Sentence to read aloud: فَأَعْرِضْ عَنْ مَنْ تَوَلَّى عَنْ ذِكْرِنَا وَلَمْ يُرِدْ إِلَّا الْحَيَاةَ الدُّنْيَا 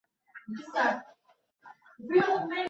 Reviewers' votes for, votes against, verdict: 0, 2, rejected